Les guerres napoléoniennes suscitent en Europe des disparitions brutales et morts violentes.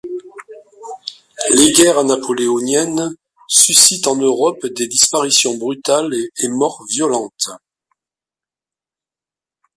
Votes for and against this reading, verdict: 1, 2, rejected